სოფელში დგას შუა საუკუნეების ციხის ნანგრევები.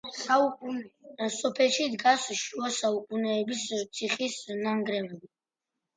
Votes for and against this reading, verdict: 1, 2, rejected